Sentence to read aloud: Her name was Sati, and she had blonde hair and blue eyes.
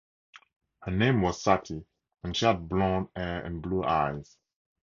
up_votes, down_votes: 4, 0